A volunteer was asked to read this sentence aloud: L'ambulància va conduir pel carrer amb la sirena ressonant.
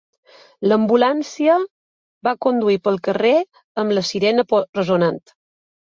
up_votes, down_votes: 0, 2